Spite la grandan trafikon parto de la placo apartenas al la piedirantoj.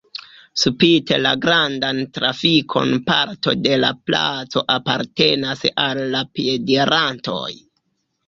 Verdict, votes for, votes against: rejected, 1, 2